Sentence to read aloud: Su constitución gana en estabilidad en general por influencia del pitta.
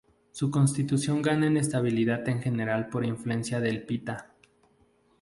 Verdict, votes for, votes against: rejected, 2, 2